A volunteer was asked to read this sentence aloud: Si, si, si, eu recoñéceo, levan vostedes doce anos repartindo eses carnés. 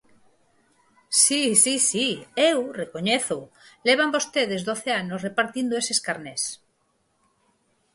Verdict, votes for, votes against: rejected, 2, 2